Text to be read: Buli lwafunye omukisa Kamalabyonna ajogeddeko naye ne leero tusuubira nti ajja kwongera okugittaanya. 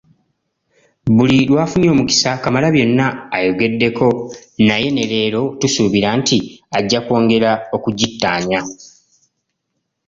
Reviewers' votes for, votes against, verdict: 0, 2, rejected